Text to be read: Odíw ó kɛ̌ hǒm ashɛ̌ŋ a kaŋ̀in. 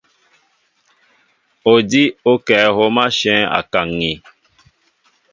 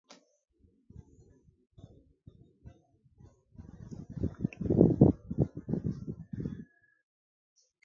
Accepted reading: first